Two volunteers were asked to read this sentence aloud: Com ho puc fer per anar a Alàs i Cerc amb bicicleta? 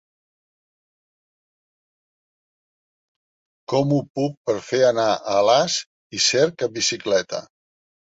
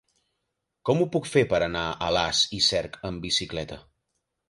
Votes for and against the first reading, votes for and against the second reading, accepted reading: 0, 2, 3, 0, second